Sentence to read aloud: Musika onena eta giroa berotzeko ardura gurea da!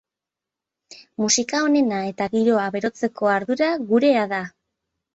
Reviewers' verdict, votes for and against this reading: accepted, 4, 0